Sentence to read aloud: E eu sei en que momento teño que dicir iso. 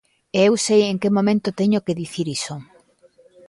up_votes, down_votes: 0, 2